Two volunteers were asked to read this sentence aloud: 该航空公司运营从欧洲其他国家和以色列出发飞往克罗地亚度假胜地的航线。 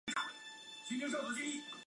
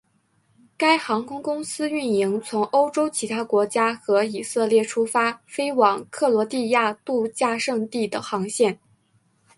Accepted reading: second